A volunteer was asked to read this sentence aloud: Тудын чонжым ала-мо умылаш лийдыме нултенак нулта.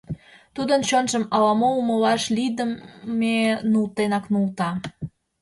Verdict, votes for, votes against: accepted, 2, 0